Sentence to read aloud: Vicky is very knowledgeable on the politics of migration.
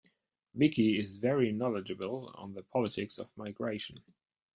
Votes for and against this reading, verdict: 2, 0, accepted